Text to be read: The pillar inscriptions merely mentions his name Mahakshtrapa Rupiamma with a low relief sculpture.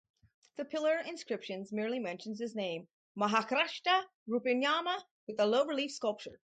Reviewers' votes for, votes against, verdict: 2, 0, accepted